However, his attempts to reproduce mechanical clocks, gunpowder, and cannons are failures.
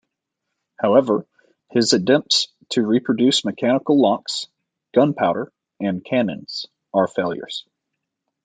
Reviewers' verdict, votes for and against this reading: rejected, 1, 2